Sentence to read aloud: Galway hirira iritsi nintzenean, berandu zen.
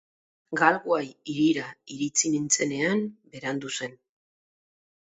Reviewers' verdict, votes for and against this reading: accepted, 6, 0